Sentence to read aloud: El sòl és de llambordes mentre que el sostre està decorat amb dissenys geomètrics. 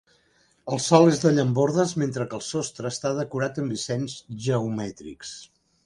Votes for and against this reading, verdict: 2, 0, accepted